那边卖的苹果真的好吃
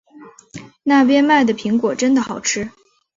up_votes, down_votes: 1, 2